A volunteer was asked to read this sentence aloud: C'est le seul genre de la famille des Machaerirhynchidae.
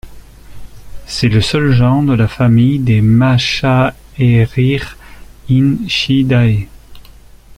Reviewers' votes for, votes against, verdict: 0, 2, rejected